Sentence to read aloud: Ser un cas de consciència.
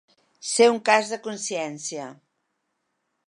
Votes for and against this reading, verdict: 2, 0, accepted